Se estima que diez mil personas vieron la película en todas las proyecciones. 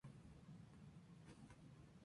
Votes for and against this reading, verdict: 0, 2, rejected